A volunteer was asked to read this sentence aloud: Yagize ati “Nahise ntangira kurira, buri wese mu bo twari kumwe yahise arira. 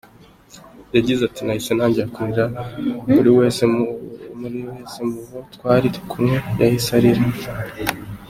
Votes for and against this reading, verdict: 1, 2, rejected